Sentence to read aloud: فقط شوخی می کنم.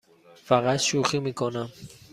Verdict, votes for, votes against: accepted, 2, 0